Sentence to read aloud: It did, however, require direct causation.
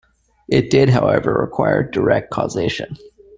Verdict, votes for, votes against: accepted, 2, 0